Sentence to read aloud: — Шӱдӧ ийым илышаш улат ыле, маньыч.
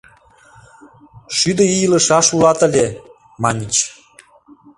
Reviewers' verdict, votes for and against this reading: rejected, 1, 2